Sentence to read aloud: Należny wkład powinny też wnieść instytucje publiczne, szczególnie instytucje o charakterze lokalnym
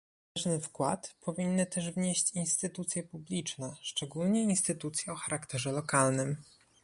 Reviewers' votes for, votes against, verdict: 1, 2, rejected